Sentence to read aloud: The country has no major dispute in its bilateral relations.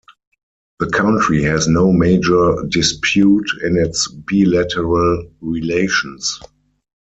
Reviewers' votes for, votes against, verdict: 0, 4, rejected